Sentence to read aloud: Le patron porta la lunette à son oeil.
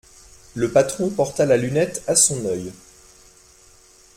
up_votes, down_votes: 2, 0